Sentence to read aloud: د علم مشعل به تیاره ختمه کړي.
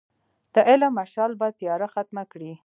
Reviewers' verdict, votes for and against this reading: accepted, 2, 0